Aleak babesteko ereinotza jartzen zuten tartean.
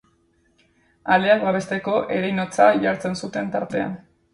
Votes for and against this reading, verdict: 2, 0, accepted